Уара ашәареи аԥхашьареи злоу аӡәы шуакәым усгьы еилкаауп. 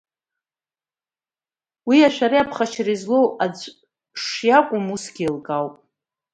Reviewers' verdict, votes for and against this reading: rejected, 1, 2